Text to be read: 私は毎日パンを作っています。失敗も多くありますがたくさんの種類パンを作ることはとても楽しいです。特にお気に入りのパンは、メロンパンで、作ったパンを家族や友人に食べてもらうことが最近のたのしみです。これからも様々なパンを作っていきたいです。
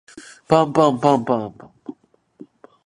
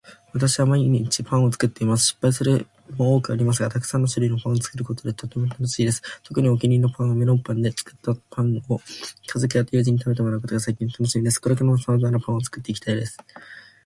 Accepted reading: second